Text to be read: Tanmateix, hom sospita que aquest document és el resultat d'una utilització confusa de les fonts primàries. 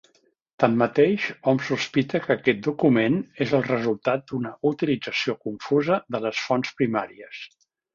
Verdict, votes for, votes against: accepted, 4, 0